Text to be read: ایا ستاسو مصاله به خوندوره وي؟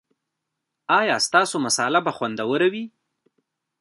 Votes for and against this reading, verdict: 0, 2, rejected